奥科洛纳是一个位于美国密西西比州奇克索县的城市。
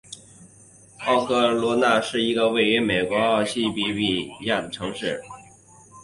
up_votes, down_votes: 1, 3